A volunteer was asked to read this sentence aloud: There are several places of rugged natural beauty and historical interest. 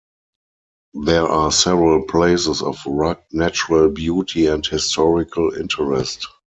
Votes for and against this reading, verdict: 0, 4, rejected